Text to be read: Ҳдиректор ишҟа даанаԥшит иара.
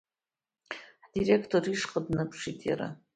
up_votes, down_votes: 2, 1